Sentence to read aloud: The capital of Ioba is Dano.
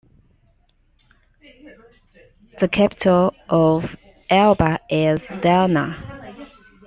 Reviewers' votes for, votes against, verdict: 2, 1, accepted